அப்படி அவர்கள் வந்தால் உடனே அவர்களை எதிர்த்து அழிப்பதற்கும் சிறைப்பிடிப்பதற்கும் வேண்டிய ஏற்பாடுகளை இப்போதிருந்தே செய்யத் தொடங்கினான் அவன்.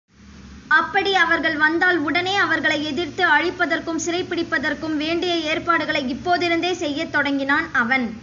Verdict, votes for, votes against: accepted, 2, 0